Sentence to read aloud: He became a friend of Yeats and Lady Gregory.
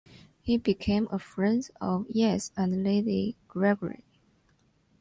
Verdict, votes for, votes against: accepted, 2, 0